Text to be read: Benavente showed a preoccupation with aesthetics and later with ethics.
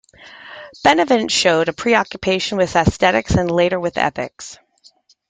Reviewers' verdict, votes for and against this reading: accepted, 2, 0